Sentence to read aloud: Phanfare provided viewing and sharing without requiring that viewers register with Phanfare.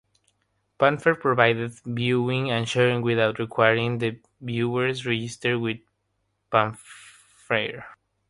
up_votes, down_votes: 3, 0